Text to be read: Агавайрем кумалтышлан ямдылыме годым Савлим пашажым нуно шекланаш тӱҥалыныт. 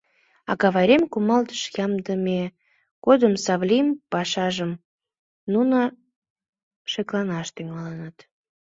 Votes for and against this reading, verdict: 1, 2, rejected